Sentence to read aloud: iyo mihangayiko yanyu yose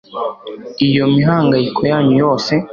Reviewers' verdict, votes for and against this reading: accepted, 2, 0